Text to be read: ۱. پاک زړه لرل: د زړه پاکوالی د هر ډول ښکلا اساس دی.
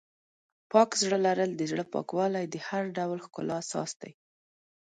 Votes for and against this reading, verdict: 0, 2, rejected